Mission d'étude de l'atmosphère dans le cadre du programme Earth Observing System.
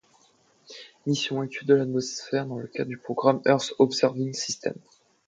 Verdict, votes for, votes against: rejected, 0, 2